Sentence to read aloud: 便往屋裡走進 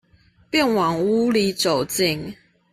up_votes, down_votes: 2, 0